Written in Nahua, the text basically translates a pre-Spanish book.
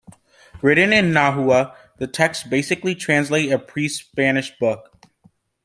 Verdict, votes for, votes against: accepted, 2, 1